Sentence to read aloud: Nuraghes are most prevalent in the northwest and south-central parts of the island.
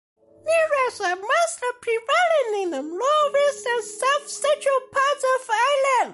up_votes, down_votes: 1, 2